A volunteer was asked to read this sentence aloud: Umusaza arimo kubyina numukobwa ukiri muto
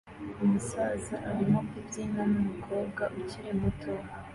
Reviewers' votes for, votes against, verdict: 2, 0, accepted